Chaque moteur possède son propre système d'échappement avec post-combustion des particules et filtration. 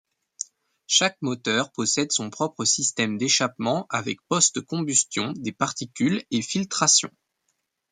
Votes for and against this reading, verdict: 2, 0, accepted